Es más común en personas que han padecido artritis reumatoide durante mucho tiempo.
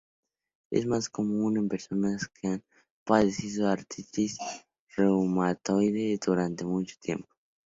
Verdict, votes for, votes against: rejected, 0, 4